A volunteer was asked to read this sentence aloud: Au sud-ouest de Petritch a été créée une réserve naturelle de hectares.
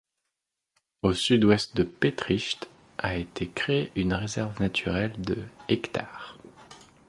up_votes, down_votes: 1, 2